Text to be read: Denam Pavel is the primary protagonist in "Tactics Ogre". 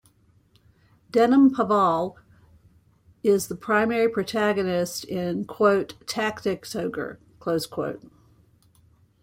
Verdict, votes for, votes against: rejected, 0, 2